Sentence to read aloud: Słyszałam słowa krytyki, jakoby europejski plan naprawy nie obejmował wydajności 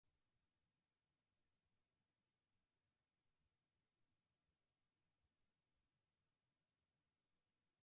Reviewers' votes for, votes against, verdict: 0, 4, rejected